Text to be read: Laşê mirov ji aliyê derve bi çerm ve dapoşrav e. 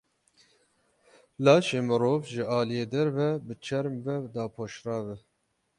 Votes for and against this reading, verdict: 12, 0, accepted